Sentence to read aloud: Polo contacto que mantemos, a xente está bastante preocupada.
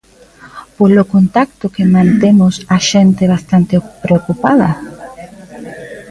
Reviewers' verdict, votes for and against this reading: rejected, 0, 2